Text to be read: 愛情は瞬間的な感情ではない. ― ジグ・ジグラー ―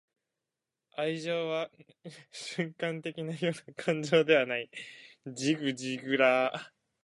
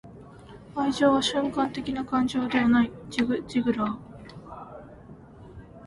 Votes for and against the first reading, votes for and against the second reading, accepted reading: 0, 2, 5, 0, second